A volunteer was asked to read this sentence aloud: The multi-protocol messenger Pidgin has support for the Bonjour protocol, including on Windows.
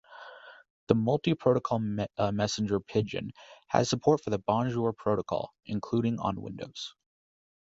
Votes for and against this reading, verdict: 0, 2, rejected